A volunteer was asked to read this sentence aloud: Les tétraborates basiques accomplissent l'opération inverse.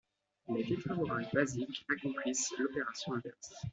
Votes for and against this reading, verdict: 2, 0, accepted